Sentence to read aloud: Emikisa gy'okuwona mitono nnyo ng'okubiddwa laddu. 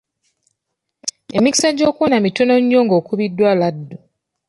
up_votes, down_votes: 2, 0